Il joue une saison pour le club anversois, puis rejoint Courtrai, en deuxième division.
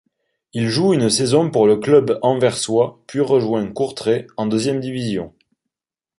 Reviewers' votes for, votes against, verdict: 2, 0, accepted